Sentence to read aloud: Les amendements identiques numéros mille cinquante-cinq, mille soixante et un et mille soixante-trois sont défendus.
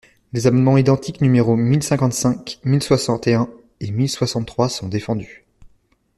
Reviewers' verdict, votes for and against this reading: accepted, 2, 0